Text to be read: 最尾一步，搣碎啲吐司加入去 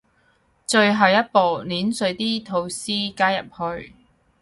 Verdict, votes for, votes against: rejected, 0, 2